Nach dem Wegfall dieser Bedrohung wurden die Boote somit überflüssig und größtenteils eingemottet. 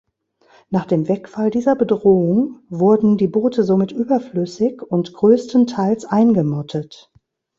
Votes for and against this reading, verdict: 2, 0, accepted